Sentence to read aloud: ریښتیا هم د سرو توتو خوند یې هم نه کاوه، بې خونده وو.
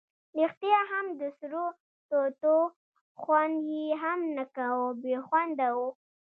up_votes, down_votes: 0, 2